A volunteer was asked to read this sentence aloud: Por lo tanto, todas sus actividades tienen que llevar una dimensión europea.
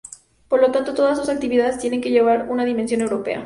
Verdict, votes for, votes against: accepted, 4, 0